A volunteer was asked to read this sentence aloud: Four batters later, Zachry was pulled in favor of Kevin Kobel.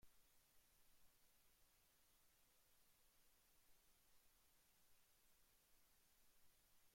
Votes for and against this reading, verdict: 0, 3, rejected